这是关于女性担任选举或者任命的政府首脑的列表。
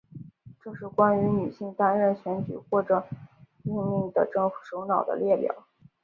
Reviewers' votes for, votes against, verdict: 3, 0, accepted